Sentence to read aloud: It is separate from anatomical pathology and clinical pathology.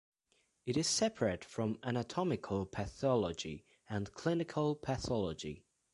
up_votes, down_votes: 2, 1